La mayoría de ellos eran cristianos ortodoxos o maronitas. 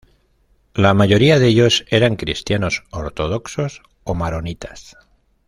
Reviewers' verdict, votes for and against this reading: accepted, 2, 0